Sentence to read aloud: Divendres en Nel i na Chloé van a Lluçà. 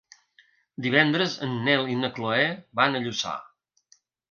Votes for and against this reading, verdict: 2, 0, accepted